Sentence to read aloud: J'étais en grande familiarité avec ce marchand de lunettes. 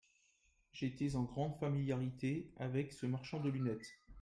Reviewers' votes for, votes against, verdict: 0, 2, rejected